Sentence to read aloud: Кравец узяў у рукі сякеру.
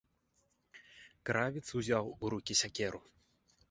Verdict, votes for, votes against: rejected, 0, 2